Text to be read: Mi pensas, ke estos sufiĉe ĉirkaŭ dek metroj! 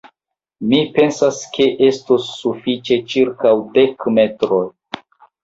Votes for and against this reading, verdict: 0, 2, rejected